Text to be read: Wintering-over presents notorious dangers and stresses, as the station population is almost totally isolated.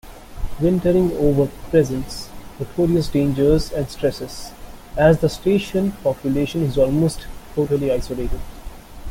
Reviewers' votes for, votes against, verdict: 2, 0, accepted